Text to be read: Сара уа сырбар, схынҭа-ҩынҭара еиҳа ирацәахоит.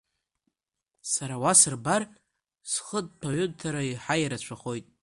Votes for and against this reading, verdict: 0, 2, rejected